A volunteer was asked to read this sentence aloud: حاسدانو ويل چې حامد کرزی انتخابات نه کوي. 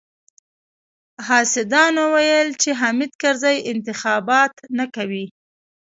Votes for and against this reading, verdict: 2, 0, accepted